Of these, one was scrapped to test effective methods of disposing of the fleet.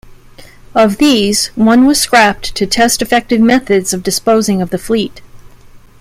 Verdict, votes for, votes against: accepted, 2, 0